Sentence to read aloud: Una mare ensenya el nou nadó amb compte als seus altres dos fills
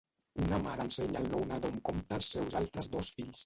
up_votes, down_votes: 1, 2